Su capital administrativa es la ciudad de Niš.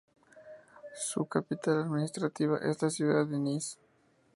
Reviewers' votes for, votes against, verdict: 2, 0, accepted